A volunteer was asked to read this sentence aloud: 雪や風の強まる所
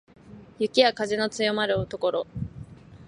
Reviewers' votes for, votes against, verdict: 0, 2, rejected